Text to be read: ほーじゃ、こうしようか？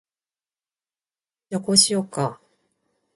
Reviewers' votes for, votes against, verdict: 3, 3, rejected